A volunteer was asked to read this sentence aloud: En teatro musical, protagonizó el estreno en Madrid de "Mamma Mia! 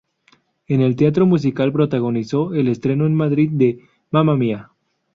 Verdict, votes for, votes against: rejected, 0, 2